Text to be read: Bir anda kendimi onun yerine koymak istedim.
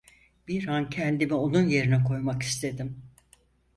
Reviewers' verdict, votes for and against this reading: rejected, 0, 4